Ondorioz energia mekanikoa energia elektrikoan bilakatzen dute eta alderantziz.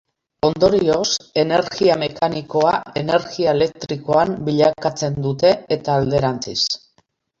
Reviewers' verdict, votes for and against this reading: accepted, 2, 1